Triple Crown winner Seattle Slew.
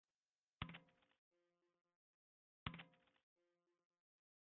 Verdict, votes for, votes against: rejected, 0, 2